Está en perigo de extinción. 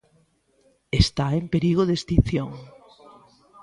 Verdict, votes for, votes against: rejected, 1, 2